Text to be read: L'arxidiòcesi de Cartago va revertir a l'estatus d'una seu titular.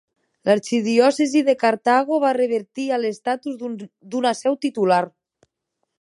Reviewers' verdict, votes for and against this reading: rejected, 0, 2